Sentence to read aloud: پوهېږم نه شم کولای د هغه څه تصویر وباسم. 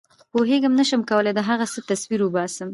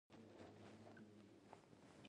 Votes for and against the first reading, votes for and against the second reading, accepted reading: 2, 0, 1, 2, first